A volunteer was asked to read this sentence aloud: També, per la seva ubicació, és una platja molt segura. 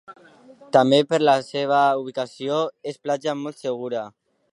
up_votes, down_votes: 1, 2